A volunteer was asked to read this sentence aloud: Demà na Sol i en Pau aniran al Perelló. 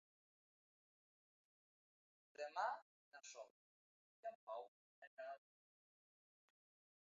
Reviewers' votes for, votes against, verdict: 0, 2, rejected